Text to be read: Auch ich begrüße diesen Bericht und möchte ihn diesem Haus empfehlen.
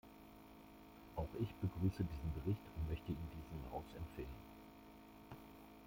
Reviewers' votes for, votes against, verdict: 1, 2, rejected